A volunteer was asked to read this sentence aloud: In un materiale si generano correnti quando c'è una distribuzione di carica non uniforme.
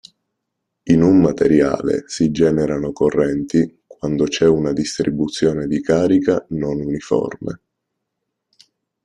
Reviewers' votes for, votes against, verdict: 1, 2, rejected